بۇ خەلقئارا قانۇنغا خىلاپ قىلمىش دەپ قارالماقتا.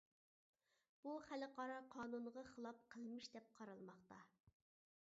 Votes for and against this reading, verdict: 2, 0, accepted